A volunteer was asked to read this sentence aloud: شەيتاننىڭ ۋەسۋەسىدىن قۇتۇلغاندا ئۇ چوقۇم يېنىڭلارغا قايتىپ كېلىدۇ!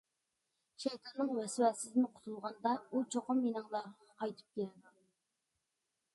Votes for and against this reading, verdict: 1, 2, rejected